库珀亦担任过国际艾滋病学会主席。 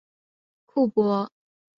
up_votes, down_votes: 0, 2